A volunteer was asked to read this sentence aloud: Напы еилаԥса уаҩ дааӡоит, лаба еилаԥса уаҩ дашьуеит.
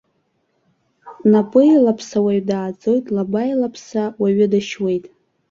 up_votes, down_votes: 1, 2